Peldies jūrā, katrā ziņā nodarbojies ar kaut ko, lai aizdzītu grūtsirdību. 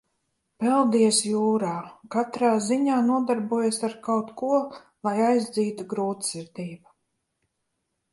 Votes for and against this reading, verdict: 2, 0, accepted